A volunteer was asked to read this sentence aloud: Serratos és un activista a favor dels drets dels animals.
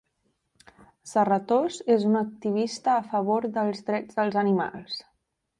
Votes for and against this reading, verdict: 5, 2, accepted